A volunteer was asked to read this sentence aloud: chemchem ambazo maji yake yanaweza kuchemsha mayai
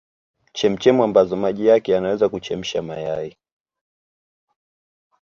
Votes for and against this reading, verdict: 0, 2, rejected